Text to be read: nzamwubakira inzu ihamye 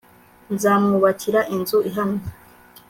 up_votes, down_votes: 2, 0